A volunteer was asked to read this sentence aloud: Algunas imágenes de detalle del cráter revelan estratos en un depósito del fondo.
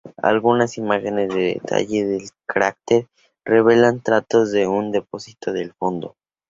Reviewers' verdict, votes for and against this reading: rejected, 0, 2